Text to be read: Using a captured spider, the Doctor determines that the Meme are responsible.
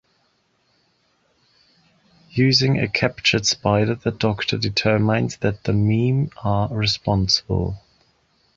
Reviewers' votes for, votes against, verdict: 1, 2, rejected